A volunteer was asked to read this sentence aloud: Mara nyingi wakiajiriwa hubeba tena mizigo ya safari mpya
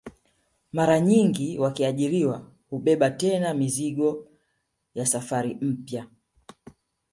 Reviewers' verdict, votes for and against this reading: rejected, 2, 3